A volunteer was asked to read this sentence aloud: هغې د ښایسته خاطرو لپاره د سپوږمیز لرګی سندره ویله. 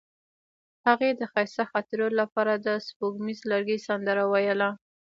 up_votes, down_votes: 1, 2